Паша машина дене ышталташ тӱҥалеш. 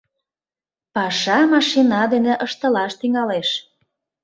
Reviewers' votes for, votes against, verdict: 1, 2, rejected